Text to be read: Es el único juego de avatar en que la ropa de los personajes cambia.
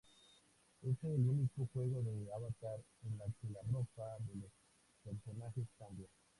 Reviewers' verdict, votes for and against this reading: accepted, 2, 0